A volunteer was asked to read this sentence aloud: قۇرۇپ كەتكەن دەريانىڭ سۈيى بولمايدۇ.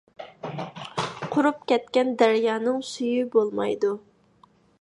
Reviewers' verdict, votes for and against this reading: accepted, 2, 0